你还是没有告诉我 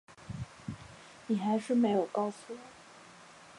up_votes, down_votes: 2, 0